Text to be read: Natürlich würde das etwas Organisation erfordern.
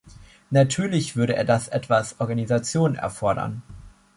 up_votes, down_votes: 0, 2